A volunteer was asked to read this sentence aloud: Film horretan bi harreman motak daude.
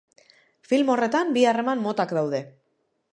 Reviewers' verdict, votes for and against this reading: accepted, 2, 0